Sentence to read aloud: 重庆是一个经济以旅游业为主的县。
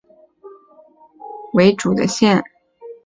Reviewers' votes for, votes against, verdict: 1, 2, rejected